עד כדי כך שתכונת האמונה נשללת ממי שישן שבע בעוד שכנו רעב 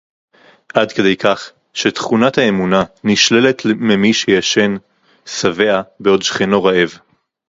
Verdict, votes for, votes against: rejected, 0, 2